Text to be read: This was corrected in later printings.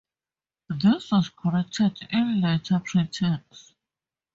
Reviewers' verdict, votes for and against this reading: rejected, 0, 2